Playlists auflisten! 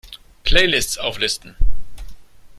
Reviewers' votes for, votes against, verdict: 2, 0, accepted